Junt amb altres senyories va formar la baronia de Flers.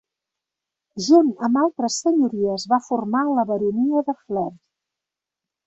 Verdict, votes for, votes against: rejected, 0, 2